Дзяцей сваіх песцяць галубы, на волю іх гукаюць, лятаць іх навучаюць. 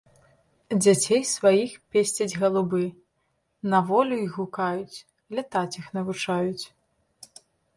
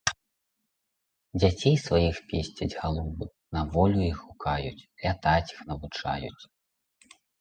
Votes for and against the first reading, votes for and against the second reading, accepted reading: 2, 0, 0, 2, first